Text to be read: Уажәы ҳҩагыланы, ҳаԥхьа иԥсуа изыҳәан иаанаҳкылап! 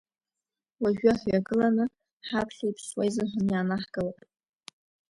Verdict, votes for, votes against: accepted, 2, 1